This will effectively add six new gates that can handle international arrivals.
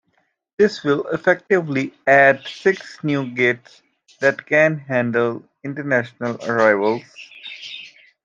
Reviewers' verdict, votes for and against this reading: accepted, 2, 0